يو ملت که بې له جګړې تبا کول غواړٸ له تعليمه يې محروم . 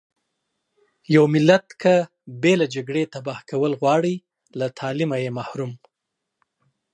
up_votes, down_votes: 2, 0